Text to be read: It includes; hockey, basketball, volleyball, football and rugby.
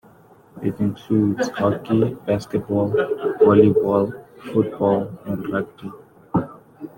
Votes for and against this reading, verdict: 2, 0, accepted